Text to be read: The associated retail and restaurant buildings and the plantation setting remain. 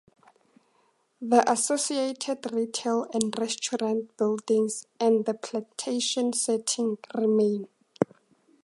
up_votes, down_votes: 2, 0